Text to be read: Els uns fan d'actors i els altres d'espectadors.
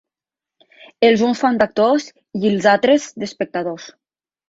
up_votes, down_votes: 3, 0